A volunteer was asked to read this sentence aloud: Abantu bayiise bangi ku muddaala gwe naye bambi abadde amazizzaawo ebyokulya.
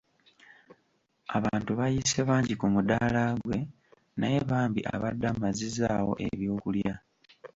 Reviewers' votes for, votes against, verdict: 2, 0, accepted